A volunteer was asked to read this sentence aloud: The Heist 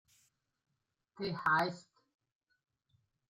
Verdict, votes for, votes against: rejected, 0, 2